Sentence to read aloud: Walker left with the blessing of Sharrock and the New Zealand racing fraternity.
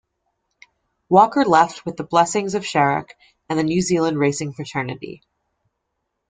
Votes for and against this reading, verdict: 1, 2, rejected